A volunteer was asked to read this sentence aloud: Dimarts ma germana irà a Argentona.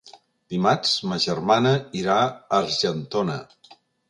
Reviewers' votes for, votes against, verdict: 1, 2, rejected